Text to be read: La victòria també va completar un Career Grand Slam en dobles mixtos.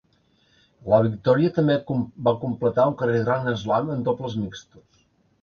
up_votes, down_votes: 1, 2